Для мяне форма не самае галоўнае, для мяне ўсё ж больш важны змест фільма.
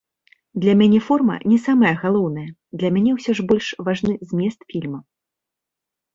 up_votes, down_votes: 2, 0